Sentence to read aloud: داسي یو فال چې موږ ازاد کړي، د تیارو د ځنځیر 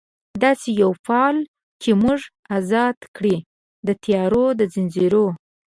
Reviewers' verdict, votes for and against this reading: rejected, 0, 4